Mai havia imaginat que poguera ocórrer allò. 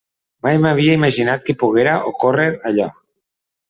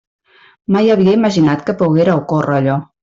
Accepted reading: second